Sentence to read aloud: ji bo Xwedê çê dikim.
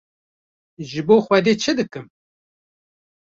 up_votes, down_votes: 1, 2